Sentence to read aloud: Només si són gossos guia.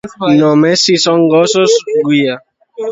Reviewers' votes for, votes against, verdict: 2, 1, accepted